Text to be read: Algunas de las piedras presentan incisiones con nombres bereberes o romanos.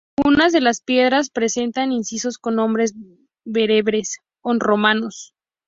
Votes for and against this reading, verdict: 0, 2, rejected